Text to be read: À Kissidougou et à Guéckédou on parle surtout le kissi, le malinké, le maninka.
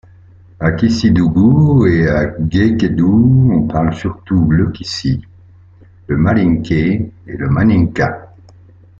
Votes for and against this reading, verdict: 0, 2, rejected